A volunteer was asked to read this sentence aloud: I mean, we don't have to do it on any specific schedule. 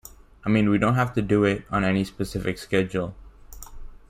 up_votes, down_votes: 2, 1